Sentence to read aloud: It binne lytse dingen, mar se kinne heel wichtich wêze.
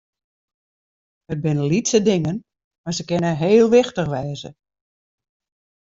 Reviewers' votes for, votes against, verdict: 2, 0, accepted